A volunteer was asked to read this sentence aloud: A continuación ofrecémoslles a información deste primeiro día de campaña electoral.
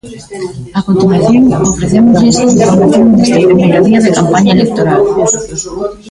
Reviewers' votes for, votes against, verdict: 1, 2, rejected